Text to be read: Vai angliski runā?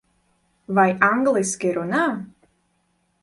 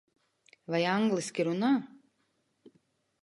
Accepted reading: first